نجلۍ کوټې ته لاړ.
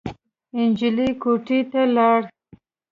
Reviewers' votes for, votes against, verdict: 2, 0, accepted